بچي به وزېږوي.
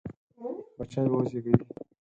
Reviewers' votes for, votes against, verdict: 0, 4, rejected